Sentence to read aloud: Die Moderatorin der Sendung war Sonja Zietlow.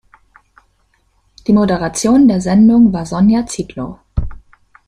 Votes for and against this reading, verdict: 1, 2, rejected